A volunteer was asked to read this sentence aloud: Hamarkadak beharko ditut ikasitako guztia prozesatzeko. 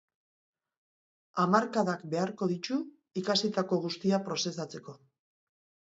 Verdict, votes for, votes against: rejected, 0, 3